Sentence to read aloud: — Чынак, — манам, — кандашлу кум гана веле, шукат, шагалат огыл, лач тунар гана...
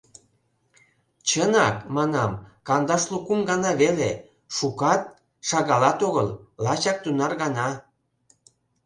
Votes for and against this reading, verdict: 0, 2, rejected